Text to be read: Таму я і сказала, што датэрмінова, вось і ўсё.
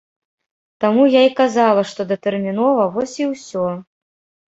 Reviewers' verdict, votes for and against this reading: rejected, 1, 2